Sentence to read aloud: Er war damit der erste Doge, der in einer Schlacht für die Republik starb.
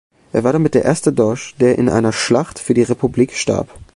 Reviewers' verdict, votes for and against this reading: rejected, 0, 2